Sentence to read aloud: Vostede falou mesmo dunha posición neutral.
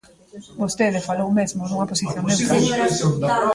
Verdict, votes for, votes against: rejected, 0, 2